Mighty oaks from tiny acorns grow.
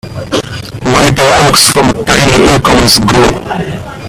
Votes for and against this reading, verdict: 0, 2, rejected